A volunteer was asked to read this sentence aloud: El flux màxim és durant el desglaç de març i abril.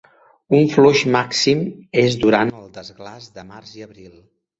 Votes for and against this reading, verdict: 0, 2, rejected